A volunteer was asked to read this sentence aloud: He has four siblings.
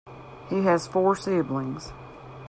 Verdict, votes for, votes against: accepted, 2, 0